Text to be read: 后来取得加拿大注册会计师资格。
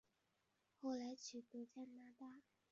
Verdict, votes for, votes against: rejected, 0, 2